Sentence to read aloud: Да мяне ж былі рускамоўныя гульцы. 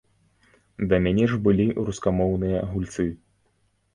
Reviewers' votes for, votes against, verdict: 2, 0, accepted